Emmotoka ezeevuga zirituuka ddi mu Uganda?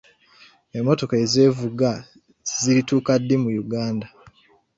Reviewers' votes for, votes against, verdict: 2, 1, accepted